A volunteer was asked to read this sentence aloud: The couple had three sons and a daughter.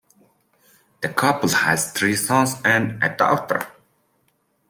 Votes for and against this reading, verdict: 2, 1, accepted